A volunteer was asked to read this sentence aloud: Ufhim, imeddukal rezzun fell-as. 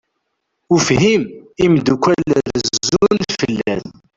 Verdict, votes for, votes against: rejected, 0, 2